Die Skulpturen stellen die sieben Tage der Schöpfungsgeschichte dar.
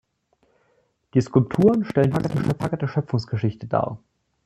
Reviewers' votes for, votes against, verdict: 0, 2, rejected